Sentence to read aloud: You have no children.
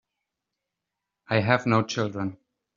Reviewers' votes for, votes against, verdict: 0, 2, rejected